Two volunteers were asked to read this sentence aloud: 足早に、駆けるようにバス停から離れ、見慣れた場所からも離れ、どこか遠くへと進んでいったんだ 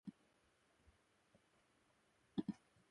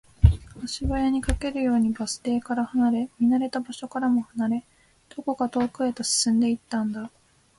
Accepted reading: second